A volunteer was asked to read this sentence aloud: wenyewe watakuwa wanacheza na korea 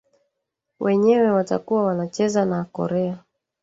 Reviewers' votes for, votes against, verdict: 1, 2, rejected